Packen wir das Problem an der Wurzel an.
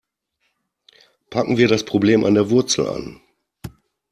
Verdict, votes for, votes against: accepted, 2, 0